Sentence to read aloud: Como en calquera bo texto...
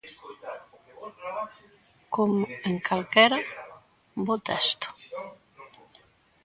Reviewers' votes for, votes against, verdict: 0, 2, rejected